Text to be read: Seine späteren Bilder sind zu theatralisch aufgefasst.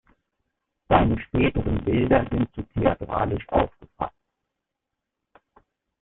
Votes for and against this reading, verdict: 0, 2, rejected